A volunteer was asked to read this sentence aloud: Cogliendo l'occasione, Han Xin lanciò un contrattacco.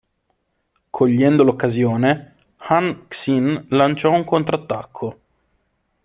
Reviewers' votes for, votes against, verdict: 2, 0, accepted